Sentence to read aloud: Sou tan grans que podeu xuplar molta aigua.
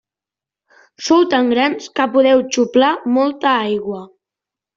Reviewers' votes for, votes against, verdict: 2, 0, accepted